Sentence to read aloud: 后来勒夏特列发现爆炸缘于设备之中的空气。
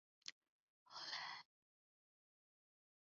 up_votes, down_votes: 0, 4